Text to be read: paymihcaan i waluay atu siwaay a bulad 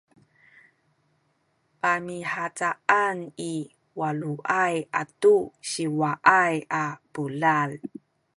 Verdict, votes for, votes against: rejected, 1, 2